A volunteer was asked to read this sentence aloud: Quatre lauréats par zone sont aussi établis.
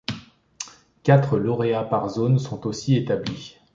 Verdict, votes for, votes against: rejected, 1, 2